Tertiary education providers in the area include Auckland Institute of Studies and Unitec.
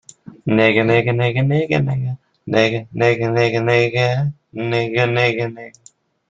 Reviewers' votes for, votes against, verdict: 0, 2, rejected